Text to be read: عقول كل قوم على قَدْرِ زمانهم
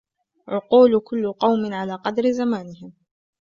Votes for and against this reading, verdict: 2, 1, accepted